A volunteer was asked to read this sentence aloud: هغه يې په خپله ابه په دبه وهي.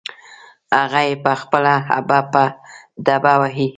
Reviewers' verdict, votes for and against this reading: rejected, 1, 2